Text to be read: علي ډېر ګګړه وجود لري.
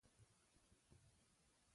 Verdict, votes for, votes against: rejected, 0, 2